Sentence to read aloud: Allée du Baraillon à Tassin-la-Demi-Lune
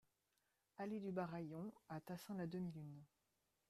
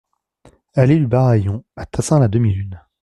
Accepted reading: second